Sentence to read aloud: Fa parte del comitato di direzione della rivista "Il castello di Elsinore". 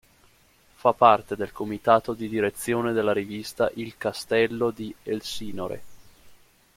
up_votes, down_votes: 2, 0